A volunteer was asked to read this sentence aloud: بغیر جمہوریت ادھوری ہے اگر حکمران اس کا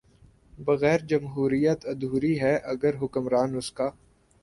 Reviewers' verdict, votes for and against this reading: accepted, 3, 0